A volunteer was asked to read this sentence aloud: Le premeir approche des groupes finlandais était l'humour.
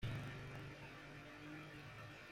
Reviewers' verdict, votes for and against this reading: rejected, 0, 3